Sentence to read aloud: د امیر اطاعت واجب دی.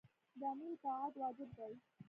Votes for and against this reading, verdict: 2, 0, accepted